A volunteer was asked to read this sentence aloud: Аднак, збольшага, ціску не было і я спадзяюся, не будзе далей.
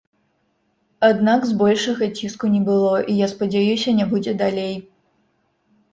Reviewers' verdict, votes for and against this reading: rejected, 2, 3